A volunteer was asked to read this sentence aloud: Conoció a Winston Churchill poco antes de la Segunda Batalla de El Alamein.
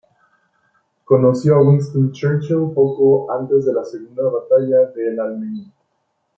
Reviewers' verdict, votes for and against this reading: rejected, 0, 2